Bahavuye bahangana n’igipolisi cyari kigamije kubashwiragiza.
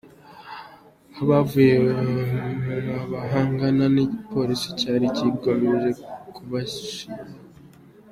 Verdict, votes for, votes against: rejected, 0, 3